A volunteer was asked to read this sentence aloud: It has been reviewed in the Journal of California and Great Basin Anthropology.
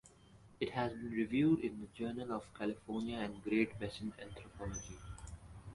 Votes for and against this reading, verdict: 4, 0, accepted